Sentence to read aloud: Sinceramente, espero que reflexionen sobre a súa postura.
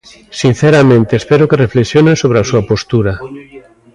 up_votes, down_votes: 2, 0